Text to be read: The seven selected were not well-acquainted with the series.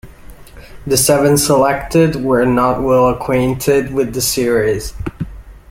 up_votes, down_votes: 2, 0